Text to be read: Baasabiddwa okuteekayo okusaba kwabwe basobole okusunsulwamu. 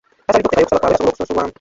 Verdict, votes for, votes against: rejected, 0, 2